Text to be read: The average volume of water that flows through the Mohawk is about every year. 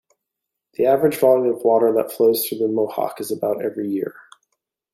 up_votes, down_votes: 2, 1